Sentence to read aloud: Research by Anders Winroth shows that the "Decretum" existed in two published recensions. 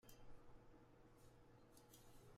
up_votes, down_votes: 0, 2